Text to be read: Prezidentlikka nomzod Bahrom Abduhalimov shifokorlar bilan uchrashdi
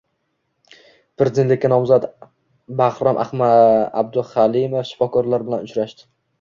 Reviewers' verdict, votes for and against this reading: rejected, 1, 2